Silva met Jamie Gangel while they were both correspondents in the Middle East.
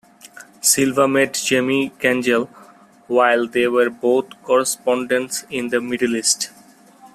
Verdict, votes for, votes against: accepted, 2, 0